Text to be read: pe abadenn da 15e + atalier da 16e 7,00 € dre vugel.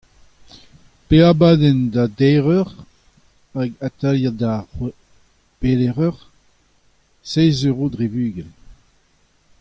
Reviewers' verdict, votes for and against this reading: rejected, 0, 2